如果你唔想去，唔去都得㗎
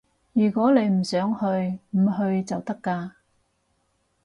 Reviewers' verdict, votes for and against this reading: rejected, 0, 4